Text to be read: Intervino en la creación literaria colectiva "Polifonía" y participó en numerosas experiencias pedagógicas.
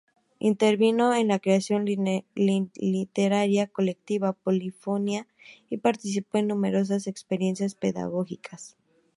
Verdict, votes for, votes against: rejected, 0, 2